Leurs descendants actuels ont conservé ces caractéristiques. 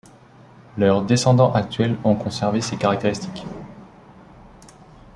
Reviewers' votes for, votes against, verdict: 2, 0, accepted